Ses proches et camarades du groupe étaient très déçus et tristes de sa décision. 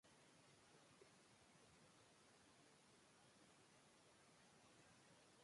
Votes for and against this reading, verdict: 0, 2, rejected